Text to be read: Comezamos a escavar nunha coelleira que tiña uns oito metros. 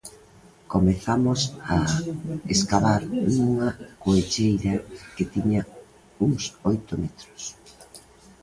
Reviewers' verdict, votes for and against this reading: rejected, 0, 2